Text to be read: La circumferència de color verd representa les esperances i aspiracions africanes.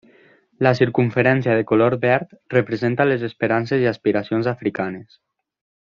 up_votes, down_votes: 3, 0